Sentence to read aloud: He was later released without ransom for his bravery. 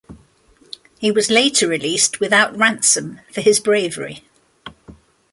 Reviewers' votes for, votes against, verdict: 2, 0, accepted